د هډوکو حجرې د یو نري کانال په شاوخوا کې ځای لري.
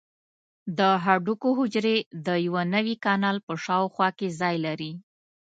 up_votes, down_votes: 0, 2